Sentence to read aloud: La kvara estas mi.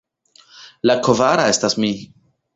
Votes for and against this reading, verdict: 0, 2, rejected